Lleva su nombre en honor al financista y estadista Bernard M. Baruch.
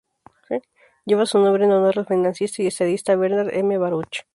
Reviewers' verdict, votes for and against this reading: rejected, 0, 2